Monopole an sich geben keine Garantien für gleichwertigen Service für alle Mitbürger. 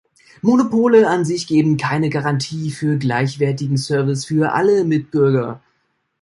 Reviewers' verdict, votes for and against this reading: rejected, 0, 2